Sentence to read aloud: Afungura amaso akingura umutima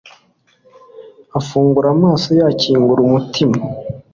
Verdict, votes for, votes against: accepted, 2, 1